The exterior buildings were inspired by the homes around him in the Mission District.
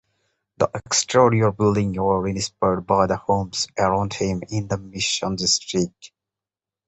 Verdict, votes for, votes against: accepted, 3, 2